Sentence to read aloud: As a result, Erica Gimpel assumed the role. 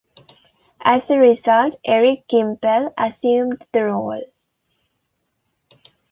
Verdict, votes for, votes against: accepted, 2, 1